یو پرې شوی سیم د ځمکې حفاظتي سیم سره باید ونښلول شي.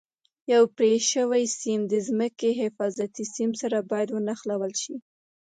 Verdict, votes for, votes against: accepted, 2, 0